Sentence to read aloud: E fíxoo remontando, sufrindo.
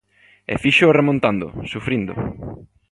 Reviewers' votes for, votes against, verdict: 2, 0, accepted